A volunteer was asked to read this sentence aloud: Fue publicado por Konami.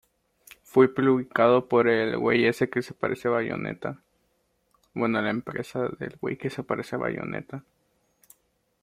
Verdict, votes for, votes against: rejected, 0, 2